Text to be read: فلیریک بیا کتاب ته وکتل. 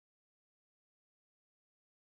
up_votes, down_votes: 1, 2